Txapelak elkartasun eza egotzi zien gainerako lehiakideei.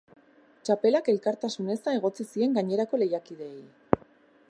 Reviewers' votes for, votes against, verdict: 2, 0, accepted